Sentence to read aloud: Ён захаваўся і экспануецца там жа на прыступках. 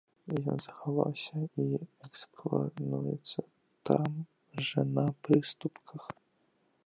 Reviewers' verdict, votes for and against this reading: rejected, 0, 2